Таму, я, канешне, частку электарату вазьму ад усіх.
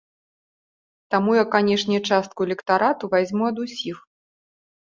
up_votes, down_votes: 2, 0